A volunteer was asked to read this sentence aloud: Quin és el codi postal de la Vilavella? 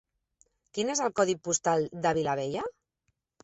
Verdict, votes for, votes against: accepted, 3, 2